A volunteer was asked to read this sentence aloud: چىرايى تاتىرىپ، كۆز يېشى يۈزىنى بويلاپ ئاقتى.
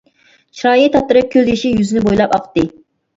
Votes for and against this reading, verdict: 2, 1, accepted